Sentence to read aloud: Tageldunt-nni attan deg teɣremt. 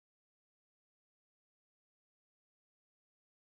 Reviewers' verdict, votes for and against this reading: rejected, 0, 2